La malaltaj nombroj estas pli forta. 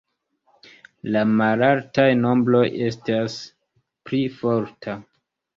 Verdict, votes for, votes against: rejected, 1, 2